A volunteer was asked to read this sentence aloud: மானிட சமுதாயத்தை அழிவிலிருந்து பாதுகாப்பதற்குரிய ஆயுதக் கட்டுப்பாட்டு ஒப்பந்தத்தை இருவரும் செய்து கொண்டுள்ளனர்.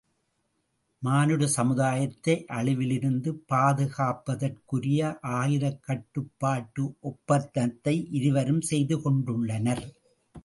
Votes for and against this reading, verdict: 1, 2, rejected